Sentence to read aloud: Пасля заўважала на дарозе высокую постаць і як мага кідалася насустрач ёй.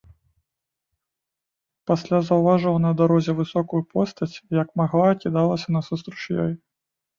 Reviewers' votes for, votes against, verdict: 1, 2, rejected